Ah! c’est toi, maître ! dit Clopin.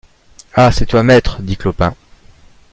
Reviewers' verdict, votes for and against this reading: accepted, 2, 0